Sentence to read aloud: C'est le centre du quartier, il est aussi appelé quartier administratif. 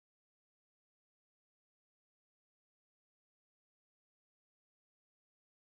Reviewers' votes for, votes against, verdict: 0, 2, rejected